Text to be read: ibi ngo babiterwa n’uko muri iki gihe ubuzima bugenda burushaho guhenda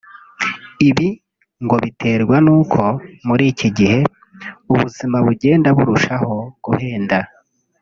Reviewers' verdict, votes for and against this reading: rejected, 1, 3